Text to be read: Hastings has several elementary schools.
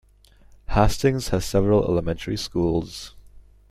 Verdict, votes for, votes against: rejected, 1, 2